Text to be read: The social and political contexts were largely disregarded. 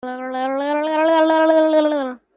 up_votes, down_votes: 0, 2